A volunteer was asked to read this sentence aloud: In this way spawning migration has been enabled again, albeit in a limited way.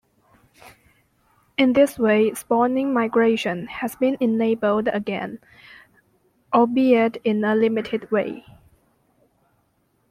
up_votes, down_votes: 2, 0